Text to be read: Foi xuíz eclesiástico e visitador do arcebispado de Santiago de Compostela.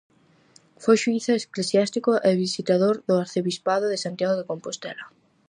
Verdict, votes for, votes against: rejected, 2, 2